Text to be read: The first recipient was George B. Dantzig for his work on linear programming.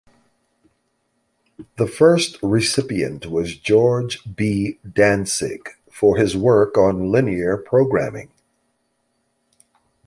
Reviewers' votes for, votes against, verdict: 2, 0, accepted